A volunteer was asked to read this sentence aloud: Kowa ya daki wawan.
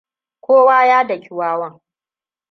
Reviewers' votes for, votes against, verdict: 2, 0, accepted